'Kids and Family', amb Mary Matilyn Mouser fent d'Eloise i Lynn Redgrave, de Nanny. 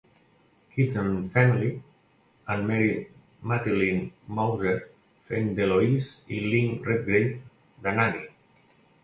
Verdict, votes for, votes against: accepted, 2, 0